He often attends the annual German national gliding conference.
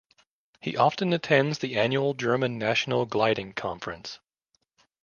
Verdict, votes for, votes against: accepted, 2, 0